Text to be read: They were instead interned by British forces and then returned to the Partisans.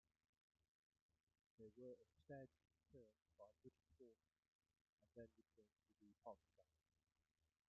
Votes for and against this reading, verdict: 0, 2, rejected